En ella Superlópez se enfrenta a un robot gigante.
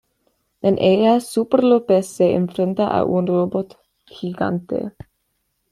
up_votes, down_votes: 2, 0